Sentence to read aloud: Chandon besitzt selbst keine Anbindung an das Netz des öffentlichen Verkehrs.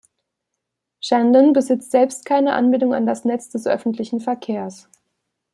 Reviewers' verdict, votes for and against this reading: accepted, 2, 0